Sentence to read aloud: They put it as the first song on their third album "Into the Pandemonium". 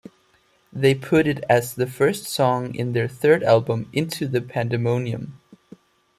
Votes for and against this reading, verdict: 1, 2, rejected